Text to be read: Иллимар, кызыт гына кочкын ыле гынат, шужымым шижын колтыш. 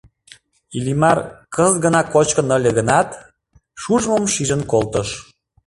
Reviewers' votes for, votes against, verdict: 2, 0, accepted